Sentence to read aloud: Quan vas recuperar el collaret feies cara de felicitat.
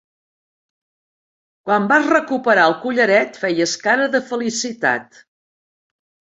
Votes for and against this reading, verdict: 2, 0, accepted